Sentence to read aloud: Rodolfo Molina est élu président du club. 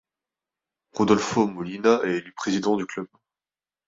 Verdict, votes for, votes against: rejected, 0, 2